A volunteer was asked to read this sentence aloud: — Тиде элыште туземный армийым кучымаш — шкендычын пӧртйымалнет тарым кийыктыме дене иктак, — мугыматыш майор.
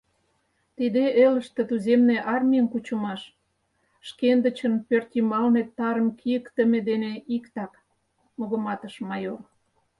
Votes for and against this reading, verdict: 6, 0, accepted